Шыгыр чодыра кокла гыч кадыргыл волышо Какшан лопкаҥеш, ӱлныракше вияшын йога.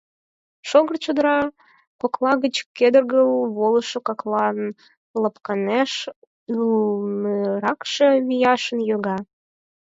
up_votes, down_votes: 0, 4